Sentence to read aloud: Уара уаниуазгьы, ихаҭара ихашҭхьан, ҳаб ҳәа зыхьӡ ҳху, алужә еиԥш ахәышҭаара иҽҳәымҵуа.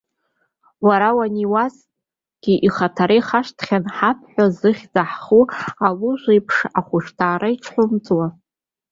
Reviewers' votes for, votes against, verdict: 2, 1, accepted